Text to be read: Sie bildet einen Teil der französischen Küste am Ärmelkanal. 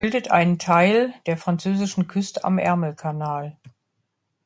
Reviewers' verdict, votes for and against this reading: rejected, 0, 2